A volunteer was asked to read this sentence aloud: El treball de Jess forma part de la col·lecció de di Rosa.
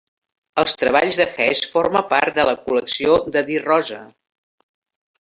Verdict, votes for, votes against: rejected, 0, 3